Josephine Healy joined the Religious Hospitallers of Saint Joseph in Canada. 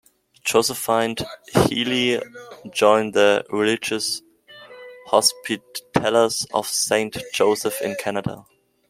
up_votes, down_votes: 1, 2